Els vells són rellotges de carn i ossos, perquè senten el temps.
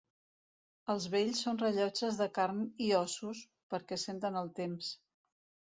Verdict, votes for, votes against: accepted, 2, 0